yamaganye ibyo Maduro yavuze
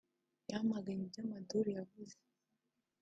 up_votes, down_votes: 3, 1